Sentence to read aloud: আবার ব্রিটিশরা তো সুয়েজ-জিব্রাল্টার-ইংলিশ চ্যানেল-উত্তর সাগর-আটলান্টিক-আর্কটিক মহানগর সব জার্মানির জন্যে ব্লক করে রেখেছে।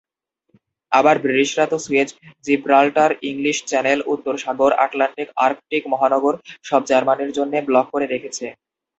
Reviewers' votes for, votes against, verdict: 0, 2, rejected